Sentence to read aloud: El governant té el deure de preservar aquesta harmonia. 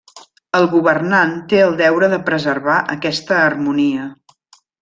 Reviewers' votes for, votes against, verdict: 4, 0, accepted